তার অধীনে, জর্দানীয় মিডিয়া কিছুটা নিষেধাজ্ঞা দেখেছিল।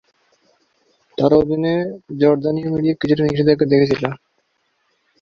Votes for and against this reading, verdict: 1, 4, rejected